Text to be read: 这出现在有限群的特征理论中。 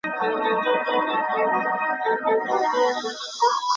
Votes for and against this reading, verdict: 1, 4, rejected